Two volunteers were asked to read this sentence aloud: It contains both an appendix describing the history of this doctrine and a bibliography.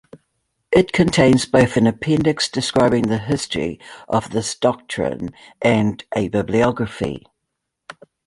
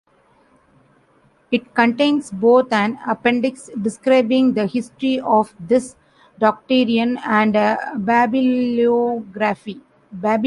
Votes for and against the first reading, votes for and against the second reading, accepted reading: 2, 0, 0, 2, first